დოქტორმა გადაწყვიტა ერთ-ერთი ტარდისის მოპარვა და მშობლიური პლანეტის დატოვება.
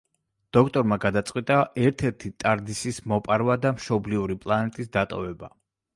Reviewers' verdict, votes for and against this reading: accepted, 2, 0